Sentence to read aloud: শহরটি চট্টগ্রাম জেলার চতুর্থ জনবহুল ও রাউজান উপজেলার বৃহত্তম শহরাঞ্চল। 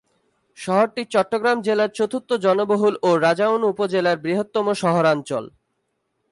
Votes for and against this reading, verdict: 4, 6, rejected